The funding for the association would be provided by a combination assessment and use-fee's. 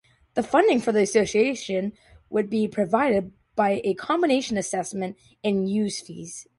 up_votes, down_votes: 2, 0